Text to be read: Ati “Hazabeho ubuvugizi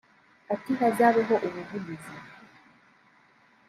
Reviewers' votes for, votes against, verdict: 2, 0, accepted